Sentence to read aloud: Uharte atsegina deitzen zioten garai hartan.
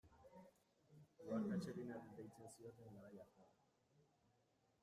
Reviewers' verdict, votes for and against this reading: rejected, 0, 2